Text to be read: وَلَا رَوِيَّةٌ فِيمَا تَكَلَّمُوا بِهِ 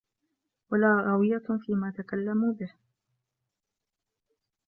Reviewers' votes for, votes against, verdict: 2, 0, accepted